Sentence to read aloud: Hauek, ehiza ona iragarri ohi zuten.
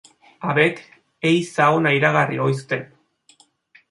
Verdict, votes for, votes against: rejected, 0, 2